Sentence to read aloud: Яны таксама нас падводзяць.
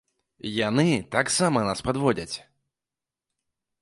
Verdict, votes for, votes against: accepted, 2, 0